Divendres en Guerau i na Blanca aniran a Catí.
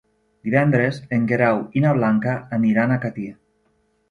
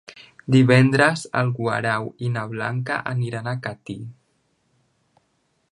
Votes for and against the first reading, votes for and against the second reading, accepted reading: 2, 0, 0, 2, first